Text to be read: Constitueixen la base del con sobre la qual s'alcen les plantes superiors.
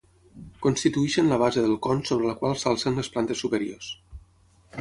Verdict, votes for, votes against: accepted, 6, 0